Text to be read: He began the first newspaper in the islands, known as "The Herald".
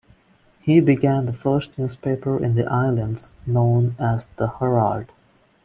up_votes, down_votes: 1, 2